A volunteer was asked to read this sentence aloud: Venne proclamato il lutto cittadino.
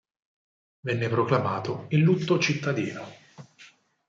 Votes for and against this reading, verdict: 8, 0, accepted